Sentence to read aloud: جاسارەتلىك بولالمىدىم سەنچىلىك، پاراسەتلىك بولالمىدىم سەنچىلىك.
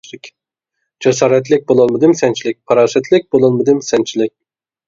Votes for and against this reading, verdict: 2, 0, accepted